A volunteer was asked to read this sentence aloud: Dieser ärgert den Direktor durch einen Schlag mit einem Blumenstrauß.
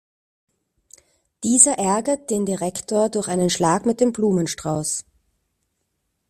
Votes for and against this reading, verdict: 0, 2, rejected